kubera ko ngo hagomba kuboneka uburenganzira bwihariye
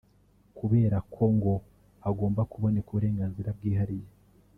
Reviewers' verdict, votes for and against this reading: rejected, 0, 2